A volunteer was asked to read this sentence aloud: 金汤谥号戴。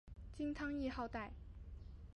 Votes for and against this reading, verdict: 0, 2, rejected